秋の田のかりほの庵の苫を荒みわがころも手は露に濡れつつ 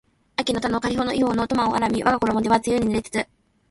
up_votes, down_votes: 2, 0